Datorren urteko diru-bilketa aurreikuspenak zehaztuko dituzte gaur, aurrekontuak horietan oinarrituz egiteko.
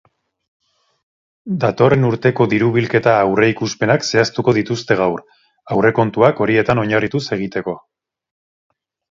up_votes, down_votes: 4, 0